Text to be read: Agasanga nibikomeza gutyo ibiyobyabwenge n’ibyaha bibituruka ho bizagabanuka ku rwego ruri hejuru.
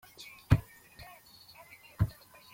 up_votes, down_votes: 0, 2